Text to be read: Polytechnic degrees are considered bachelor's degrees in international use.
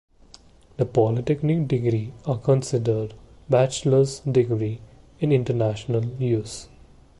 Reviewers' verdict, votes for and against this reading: rejected, 1, 2